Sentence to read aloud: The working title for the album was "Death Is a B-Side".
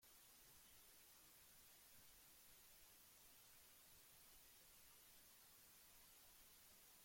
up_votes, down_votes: 0, 2